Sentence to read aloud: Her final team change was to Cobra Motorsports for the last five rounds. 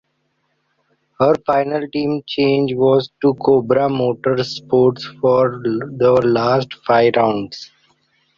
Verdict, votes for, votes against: accepted, 2, 1